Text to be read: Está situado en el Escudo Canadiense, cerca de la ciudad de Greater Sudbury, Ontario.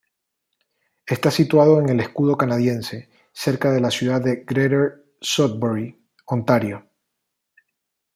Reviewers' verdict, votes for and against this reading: accepted, 2, 0